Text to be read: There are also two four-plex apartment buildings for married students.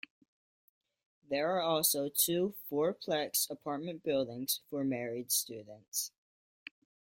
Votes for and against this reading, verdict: 2, 0, accepted